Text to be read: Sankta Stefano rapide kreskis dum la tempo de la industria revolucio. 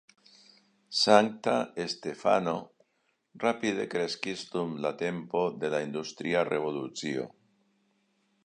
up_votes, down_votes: 3, 1